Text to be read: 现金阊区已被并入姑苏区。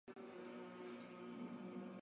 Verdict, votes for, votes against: rejected, 3, 4